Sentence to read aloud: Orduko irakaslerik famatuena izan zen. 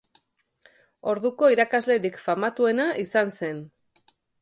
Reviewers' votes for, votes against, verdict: 5, 0, accepted